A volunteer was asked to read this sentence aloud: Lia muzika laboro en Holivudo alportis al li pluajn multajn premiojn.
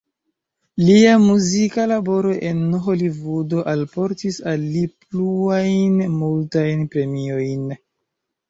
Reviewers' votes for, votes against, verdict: 0, 2, rejected